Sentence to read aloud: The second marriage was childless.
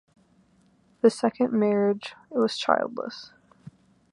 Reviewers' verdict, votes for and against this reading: accepted, 2, 0